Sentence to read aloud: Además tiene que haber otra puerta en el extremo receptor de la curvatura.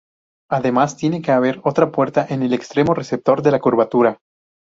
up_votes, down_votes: 2, 0